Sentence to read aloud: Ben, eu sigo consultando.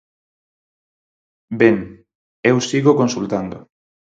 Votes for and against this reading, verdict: 4, 0, accepted